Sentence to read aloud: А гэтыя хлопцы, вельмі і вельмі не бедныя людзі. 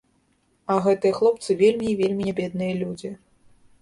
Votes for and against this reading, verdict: 1, 2, rejected